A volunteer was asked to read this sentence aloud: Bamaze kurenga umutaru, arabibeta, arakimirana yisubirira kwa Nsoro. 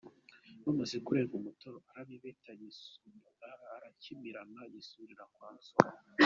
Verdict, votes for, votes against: accepted, 2, 0